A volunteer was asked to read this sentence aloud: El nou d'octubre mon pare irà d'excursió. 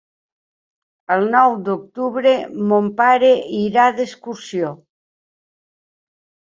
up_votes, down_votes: 4, 0